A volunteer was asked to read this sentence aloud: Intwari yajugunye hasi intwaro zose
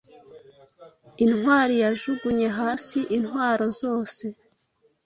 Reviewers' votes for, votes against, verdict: 2, 0, accepted